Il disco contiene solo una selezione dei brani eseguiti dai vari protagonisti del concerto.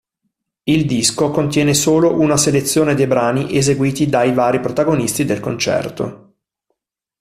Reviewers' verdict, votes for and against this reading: accepted, 2, 0